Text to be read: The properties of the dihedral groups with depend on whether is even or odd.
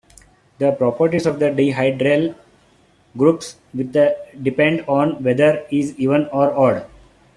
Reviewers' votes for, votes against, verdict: 2, 0, accepted